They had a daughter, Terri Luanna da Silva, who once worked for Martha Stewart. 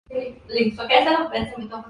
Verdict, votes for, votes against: rejected, 0, 2